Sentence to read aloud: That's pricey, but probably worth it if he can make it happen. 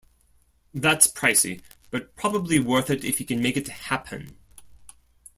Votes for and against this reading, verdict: 2, 0, accepted